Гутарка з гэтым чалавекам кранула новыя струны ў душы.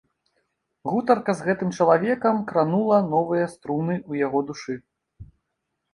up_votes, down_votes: 1, 2